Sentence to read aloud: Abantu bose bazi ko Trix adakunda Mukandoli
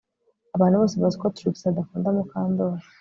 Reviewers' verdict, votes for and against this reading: accepted, 3, 0